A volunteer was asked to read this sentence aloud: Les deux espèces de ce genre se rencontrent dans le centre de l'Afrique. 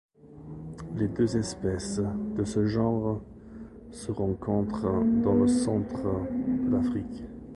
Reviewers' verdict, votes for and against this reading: rejected, 0, 2